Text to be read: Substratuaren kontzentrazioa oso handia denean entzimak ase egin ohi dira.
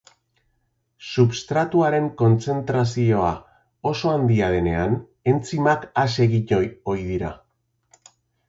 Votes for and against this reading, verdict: 1, 2, rejected